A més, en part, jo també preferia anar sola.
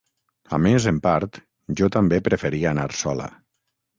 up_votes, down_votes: 9, 0